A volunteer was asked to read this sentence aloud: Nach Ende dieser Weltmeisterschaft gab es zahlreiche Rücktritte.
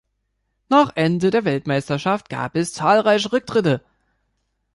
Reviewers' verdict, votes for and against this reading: rejected, 1, 2